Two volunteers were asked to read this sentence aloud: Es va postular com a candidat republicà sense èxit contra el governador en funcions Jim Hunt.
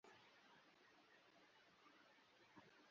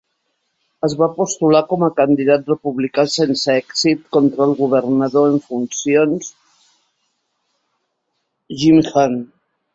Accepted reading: second